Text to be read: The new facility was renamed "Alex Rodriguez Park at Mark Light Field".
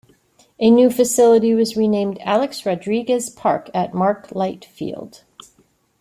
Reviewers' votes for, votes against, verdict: 2, 0, accepted